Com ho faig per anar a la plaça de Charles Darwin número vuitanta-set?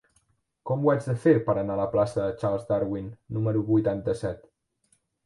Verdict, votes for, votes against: rejected, 1, 2